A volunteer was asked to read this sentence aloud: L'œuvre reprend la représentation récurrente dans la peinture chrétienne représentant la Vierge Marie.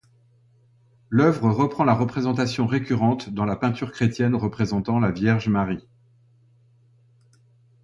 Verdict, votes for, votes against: accepted, 2, 0